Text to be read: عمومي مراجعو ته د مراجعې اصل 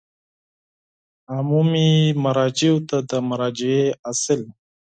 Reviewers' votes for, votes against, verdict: 4, 0, accepted